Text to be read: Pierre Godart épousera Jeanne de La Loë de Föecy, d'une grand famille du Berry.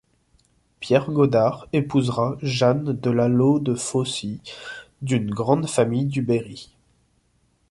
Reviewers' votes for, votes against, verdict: 0, 2, rejected